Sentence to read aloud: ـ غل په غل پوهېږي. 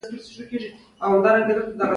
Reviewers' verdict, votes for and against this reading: accepted, 2, 0